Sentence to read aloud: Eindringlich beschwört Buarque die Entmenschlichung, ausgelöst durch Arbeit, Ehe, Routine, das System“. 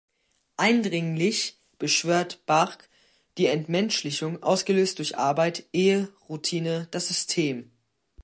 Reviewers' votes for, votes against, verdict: 3, 1, accepted